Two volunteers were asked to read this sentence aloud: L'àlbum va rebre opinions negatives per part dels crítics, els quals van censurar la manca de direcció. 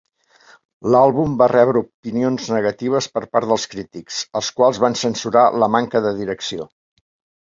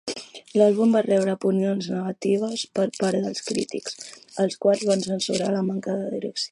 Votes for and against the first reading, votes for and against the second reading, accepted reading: 2, 0, 1, 2, first